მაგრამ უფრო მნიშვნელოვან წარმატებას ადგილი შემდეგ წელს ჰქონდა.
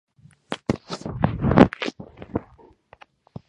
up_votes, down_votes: 2, 0